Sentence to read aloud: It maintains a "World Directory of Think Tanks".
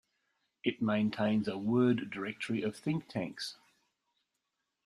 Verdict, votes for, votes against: rejected, 1, 2